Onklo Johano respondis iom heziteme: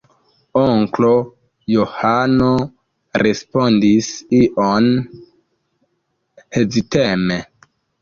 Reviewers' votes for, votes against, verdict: 2, 0, accepted